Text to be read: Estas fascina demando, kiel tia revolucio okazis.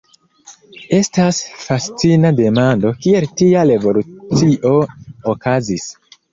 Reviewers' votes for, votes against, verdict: 2, 1, accepted